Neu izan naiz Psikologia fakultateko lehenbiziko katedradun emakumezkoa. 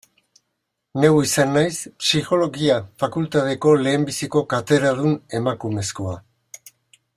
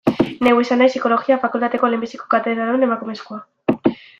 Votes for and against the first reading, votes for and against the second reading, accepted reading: 2, 0, 1, 2, first